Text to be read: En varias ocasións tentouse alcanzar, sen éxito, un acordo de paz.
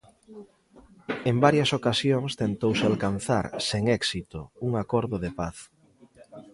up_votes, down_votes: 2, 0